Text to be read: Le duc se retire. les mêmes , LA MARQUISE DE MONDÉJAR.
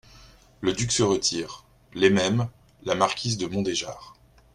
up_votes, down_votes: 2, 0